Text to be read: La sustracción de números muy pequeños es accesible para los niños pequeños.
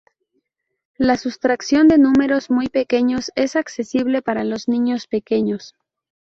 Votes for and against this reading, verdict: 2, 0, accepted